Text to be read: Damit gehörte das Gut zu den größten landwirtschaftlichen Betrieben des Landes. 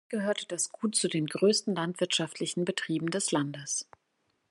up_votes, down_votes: 0, 3